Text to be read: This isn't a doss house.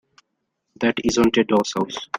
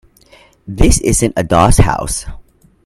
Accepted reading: second